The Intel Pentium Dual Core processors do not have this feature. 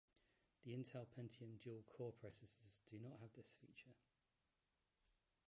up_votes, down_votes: 0, 2